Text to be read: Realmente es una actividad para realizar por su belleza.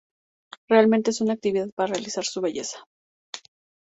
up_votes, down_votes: 0, 2